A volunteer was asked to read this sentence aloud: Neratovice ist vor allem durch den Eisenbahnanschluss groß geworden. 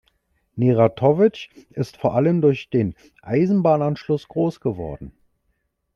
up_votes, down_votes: 2, 0